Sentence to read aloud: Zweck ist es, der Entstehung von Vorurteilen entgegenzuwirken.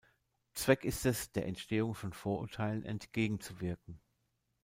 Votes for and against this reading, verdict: 2, 0, accepted